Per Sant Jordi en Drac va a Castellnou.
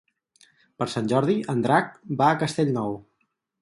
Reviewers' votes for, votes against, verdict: 4, 0, accepted